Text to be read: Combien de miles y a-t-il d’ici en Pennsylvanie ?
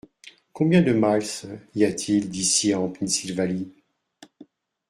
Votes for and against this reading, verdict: 2, 0, accepted